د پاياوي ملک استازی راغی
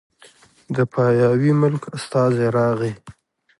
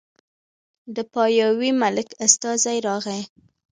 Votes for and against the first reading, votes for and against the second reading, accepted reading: 2, 0, 1, 2, first